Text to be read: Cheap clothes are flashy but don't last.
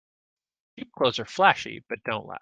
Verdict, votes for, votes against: rejected, 0, 2